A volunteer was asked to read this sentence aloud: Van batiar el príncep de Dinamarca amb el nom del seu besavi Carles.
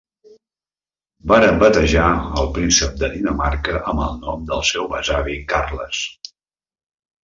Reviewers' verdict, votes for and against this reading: rejected, 1, 2